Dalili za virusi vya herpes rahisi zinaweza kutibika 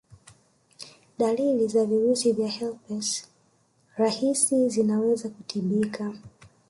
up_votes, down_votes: 1, 2